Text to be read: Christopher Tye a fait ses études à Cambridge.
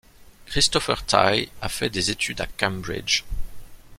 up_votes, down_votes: 0, 2